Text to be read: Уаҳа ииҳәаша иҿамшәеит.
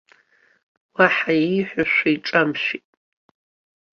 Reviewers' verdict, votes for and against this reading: accepted, 2, 0